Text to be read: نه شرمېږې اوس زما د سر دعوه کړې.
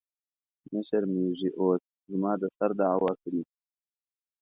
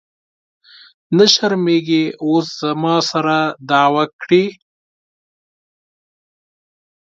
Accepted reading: first